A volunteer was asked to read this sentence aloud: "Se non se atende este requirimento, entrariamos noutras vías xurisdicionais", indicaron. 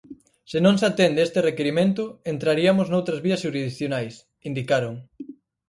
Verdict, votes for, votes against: rejected, 2, 4